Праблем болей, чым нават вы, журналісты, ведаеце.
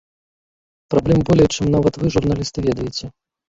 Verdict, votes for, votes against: rejected, 0, 2